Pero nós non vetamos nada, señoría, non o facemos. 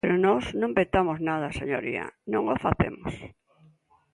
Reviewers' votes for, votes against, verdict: 3, 0, accepted